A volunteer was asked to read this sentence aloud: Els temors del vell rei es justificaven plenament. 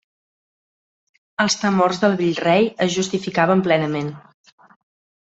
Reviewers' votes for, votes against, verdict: 2, 0, accepted